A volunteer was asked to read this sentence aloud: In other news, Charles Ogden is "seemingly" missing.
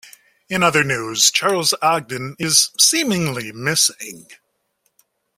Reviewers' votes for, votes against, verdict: 2, 0, accepted